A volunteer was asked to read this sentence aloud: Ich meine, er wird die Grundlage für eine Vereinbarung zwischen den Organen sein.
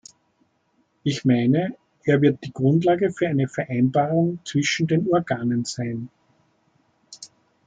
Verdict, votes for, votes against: accepted, 2, 0